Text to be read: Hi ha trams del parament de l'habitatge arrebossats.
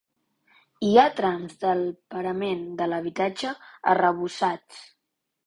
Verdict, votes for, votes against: rejected, 1, 2